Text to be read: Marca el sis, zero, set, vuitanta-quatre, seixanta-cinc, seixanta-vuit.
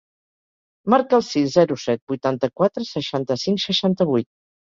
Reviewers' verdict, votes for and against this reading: accepted, 2, 0